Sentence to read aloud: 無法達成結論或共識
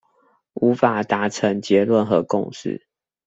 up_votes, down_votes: 0, 2